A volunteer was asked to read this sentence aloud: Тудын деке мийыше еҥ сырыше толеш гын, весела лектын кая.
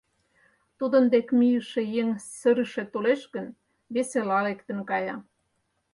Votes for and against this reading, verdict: 4, 0, accepted